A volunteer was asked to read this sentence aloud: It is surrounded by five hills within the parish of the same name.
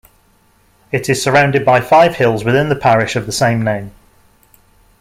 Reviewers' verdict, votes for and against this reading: accepted, 2, 0